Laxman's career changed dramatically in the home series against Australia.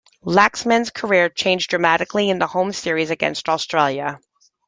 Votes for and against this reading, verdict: 2, 0, accepted